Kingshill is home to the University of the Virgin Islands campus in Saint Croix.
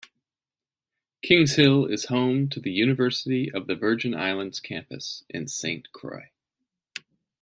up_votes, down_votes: 2, 0